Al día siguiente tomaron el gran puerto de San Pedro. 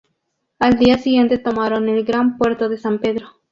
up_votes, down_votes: 2, 0